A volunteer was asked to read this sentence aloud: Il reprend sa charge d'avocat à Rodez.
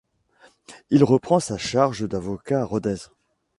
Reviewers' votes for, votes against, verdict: 2, 0, accepted